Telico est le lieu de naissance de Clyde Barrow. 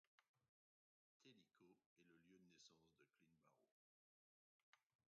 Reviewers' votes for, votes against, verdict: 0, 2, rejected